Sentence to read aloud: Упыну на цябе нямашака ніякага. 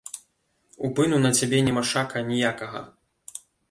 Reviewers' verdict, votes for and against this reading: rejected, 0, 2